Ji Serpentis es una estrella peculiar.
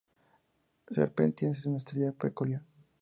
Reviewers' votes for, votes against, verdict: 0, 4, rejected